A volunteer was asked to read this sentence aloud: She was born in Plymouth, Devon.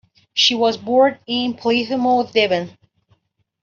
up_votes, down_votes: 0, 2